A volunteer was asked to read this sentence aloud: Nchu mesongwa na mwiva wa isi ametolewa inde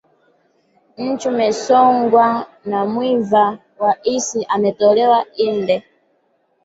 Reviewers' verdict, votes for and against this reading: rejected, 0, 3